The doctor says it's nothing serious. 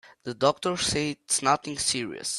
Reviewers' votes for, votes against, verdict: 2, 3, rejected